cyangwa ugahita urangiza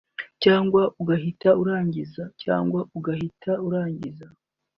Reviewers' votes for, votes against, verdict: 0, 2, rejected